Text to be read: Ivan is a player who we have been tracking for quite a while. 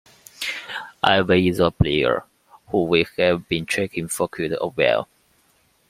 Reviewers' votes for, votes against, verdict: 1, 2, rejected